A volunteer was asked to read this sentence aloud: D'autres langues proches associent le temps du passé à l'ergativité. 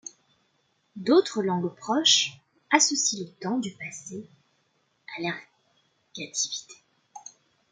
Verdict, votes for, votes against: accepted, 2, 1